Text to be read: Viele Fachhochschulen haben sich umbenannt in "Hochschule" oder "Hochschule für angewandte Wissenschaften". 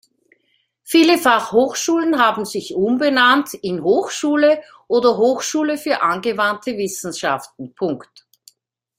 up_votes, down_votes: 0, 2